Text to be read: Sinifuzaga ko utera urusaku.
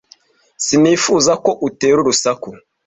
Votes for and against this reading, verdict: 2, 0, accepted